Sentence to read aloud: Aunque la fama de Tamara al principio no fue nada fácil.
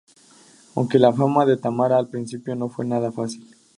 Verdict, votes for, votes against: rejected, 2, 2